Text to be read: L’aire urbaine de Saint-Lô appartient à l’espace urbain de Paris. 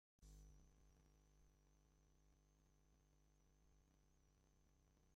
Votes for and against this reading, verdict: 0, 2, rejected